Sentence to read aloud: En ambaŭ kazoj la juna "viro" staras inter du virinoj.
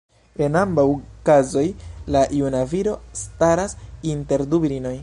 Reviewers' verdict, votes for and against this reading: rejected, 1, 2